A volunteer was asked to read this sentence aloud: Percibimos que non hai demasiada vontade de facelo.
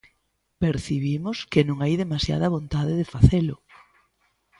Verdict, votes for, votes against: accepted, 2, 0